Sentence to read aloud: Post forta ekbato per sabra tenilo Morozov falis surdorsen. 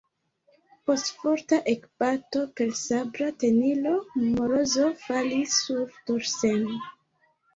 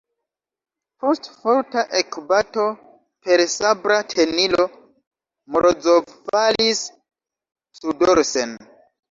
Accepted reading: first